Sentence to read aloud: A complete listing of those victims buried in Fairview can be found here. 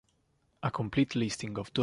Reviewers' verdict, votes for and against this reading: rejected, 0, 2